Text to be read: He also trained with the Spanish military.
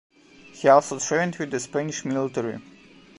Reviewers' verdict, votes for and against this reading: rejected, 1, 3